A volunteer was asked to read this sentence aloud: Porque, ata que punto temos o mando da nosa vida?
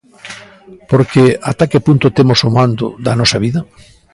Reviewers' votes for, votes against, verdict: 2, 0, accepted